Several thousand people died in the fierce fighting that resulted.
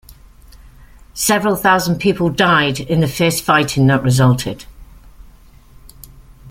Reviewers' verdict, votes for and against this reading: accepted, 2, 0